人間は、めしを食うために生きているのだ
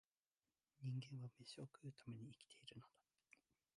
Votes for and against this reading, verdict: 1, 5, rejected